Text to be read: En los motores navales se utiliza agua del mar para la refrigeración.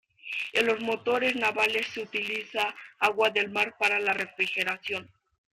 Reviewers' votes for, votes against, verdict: 2, 0, accepted